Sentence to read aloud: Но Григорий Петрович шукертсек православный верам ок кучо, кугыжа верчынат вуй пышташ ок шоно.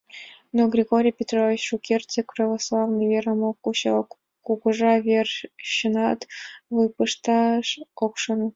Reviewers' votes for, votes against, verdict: 2, 0, accepted